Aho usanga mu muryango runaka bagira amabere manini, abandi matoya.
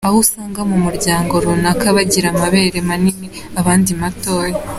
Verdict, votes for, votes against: accepted, 2, 0